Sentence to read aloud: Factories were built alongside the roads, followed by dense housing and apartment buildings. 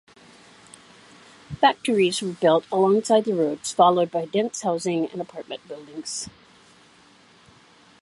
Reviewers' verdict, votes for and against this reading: accepted, 2, 0